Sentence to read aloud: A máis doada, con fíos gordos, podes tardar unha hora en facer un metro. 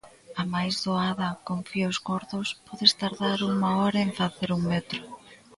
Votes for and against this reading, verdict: 1, 2, rejected